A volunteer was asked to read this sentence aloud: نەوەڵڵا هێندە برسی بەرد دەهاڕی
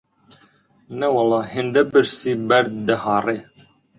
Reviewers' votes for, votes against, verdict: 2, 1, accepted